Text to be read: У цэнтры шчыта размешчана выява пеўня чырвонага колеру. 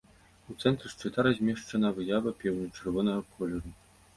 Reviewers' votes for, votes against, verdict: 2, 1, accepted